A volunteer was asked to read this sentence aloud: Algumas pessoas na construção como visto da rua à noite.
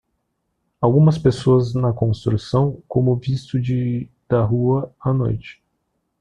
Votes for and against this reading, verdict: 0, 2, rejected